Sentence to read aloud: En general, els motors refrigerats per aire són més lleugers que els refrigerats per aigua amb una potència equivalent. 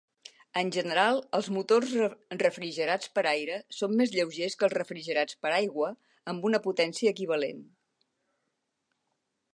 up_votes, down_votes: 0, 2